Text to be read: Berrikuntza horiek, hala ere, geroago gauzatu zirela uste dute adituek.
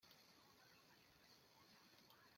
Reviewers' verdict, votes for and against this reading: rejected, 0, 2